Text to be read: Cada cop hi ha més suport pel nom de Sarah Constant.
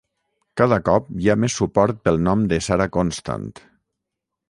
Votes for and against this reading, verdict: 6, 0, accepted